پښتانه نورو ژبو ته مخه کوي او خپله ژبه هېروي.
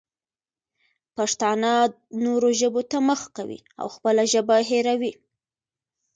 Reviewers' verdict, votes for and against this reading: accepted, 2, 0